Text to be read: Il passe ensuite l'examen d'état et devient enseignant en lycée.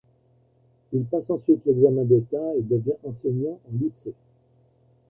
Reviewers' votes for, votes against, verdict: 1, 2, rejected